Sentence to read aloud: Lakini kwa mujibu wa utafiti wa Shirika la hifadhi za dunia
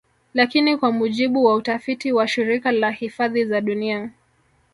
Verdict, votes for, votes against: rejected, 1, 2